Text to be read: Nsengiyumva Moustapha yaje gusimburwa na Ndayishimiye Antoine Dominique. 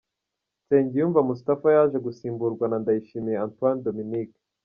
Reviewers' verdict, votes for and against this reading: accepted, 2, 0